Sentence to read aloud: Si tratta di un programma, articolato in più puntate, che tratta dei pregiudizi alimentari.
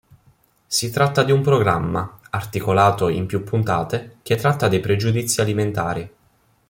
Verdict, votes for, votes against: accepted, 2, 0